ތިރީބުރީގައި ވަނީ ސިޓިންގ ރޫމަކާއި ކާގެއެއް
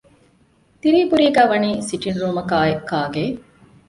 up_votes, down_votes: 2, 0